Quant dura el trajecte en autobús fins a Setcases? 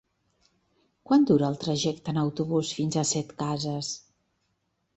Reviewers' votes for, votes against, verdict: 2, 0, accepted